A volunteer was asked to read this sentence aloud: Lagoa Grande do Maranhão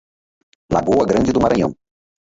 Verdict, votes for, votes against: rejected, 0, 4